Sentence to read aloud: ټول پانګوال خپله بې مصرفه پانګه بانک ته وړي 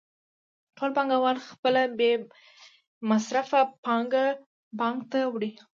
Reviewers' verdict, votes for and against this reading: accepted, 2, 0